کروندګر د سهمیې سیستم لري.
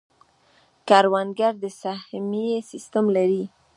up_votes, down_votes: 1, 2